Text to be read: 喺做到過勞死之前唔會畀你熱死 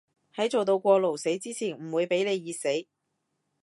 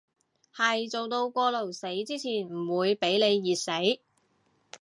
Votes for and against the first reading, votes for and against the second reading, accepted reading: 2, 0, 0, 2, first